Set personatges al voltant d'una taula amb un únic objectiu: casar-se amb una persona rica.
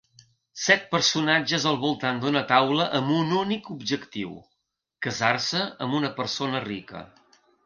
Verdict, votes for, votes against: accepted, 2, 0